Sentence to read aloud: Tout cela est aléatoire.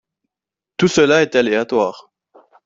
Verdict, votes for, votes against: accepted, 2, 0